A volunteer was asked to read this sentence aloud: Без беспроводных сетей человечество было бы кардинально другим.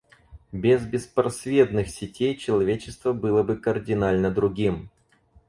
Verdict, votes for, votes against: rejected, 0, 4